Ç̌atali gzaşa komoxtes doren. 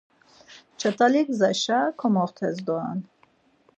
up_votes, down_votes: 4, 0